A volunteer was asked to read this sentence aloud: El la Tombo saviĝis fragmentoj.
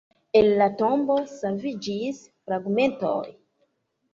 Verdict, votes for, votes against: accepted, 2, 0